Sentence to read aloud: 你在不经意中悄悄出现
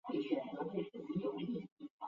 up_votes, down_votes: 0, 2